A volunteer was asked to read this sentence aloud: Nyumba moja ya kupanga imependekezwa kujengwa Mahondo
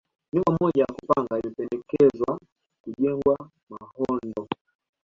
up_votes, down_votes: 1, 2